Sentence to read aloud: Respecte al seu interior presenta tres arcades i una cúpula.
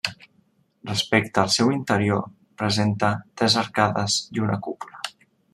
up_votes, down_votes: 1, 2